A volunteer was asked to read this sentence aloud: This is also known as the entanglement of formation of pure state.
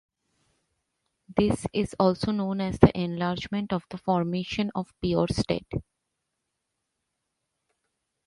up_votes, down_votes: 0, 2